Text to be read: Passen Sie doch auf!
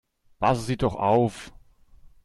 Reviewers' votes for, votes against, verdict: 0, 2, rejected